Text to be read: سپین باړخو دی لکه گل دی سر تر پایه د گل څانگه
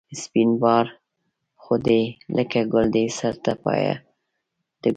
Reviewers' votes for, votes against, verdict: 0, 2, rejected